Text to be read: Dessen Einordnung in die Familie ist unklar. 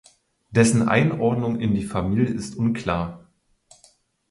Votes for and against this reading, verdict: 4, 0, accepted